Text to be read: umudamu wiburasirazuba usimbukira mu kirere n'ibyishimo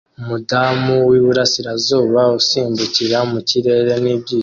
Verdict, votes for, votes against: rejected, 0, 2